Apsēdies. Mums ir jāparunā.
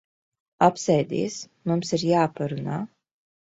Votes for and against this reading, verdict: 2, 0, accepted